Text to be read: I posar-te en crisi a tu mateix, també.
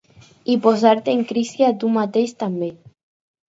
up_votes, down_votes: 4, 0